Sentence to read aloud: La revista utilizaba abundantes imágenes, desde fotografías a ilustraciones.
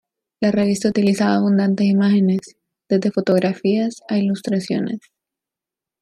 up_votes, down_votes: 0, 2